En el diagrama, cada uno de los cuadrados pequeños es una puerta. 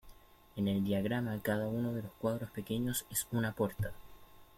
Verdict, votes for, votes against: rejected, 1, 2